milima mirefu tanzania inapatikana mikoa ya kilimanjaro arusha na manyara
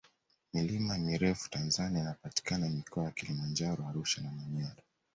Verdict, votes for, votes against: accepted, 2, 0